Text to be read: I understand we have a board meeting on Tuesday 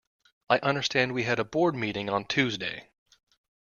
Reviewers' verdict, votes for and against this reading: rejected, 0, 2